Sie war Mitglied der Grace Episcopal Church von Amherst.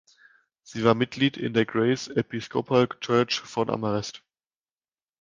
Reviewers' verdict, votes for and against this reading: rejected, 1, 2